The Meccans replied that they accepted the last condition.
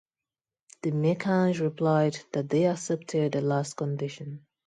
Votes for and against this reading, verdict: 2, 0, accepted